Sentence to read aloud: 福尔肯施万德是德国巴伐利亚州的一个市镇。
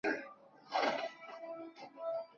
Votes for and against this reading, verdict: 0, 3, rejected